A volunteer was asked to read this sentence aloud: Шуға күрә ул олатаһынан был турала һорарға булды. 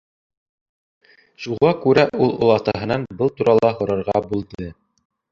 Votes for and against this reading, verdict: 0, 2, rejected